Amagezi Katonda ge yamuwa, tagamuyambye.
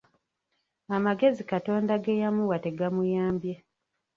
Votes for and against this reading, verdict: 1, 2, rejected